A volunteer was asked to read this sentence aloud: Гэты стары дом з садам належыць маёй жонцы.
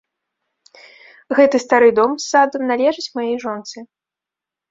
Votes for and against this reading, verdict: 1, 2, rejected